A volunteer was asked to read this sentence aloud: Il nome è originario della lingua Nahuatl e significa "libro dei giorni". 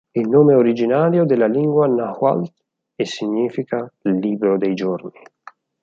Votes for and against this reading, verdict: 0, 4, rejected